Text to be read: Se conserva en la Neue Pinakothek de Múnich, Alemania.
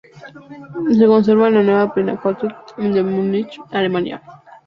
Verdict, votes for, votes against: rejected, 0, 2